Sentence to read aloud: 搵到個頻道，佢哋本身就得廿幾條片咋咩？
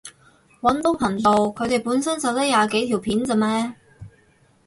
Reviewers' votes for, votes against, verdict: 0, 4, rejected